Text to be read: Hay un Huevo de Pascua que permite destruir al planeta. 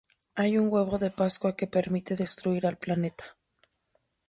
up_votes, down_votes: 2, 0